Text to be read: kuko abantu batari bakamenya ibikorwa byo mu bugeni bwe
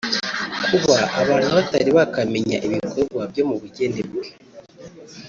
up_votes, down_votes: 0, 2